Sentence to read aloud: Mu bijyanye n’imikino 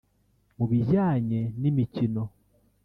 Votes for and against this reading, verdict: 1, 2, rejected